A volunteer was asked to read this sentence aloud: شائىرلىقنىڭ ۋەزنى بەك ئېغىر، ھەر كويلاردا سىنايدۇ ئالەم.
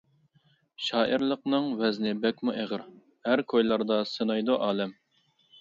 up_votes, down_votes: 0, 2